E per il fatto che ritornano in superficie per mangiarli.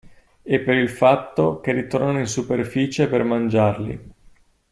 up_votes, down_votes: 2, 0